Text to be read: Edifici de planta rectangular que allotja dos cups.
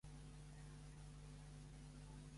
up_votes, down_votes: 0, 2